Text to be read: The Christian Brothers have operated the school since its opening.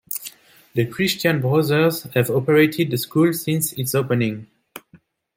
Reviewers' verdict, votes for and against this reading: accepted, 2, 0